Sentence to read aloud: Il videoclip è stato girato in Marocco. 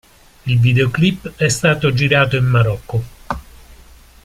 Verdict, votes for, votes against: accepted, 2, 0